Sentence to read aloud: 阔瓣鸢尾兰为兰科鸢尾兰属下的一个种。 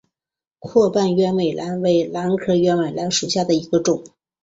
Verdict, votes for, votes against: accepted, 4, 1